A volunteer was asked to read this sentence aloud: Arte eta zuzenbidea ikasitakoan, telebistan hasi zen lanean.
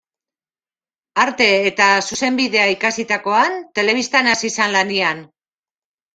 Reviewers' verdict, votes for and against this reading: rejected, 1, 2